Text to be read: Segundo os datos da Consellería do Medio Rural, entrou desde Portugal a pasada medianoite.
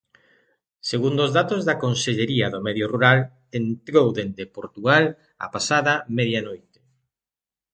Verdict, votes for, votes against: rejected, 1, 2